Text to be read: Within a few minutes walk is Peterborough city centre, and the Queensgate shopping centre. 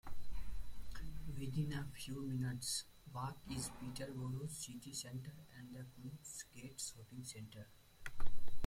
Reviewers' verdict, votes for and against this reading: rejected, 3, 7